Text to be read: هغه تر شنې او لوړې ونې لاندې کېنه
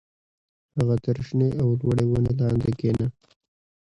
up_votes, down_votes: 0, 2